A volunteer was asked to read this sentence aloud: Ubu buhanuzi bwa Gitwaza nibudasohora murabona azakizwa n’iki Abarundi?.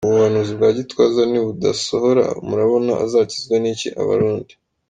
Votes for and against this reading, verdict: 2, 0, accepted